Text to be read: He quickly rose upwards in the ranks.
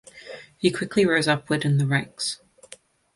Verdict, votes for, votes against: accepted, 2, 0